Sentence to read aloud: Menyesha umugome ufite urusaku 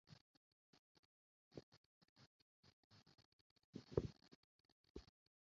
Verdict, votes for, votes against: rejected, 0, 2